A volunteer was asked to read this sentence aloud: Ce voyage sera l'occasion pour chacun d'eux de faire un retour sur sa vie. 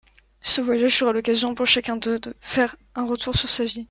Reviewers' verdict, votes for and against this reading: accepted, 2, 0